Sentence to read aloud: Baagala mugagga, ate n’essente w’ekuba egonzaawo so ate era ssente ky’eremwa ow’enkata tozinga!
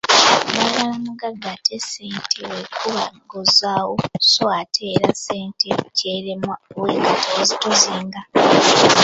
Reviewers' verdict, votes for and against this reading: accepted, 2, 1